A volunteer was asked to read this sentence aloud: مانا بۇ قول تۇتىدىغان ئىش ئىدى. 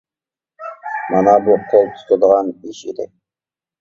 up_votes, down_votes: 0, 2